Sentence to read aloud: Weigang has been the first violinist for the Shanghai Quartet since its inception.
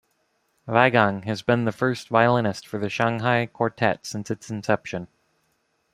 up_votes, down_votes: 2, 0